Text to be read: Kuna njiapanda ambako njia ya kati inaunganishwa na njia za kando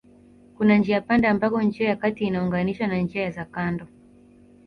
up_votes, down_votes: 2, 0